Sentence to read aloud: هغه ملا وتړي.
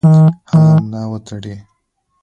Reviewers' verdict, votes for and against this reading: rejected, 1, 2